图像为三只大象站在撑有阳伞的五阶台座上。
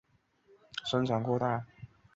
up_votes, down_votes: 0, 4